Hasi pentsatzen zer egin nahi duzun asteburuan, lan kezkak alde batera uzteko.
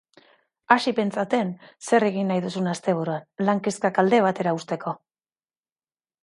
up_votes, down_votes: 2, 3